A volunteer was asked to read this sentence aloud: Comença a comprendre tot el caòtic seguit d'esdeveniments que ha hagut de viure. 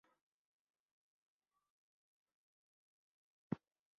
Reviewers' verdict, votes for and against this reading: rejected, 1, 2